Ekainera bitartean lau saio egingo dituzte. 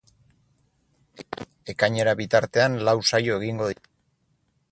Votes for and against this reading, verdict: 0, 4, rejected